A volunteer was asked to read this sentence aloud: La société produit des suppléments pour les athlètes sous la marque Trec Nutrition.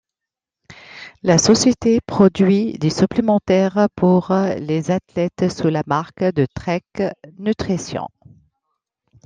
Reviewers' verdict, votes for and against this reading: rejected, 1, 2